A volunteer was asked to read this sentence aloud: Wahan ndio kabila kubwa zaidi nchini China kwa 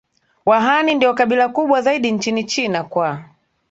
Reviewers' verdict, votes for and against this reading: accepted, 2, 0